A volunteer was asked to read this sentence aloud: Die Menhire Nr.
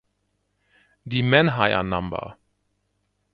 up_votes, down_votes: 1, 2